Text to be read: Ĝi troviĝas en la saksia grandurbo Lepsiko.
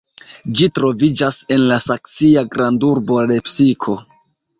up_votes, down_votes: 2, 0